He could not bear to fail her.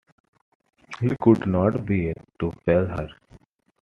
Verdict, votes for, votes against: rejected, 1, 2